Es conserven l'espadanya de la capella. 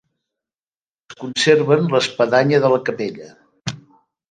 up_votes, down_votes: 2, 3